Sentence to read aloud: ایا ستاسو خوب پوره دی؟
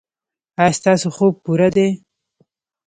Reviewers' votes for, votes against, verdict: 1, 2, rejected